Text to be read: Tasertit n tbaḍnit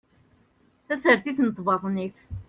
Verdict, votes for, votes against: accepted, 2, 0